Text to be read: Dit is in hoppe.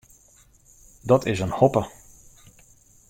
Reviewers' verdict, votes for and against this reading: rejected, 0, 2